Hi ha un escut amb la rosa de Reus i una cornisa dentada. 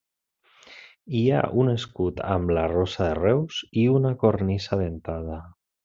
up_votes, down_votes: 2, 0